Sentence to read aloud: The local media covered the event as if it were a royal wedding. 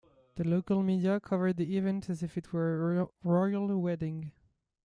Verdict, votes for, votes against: rejected, 0, 2